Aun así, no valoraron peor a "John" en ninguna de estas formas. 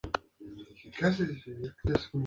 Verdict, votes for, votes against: rejected, 0, 2